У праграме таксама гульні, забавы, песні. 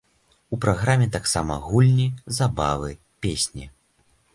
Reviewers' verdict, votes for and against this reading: accepted, 2, 0